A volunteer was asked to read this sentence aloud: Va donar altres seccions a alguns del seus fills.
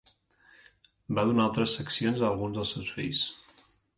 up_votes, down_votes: 2, 0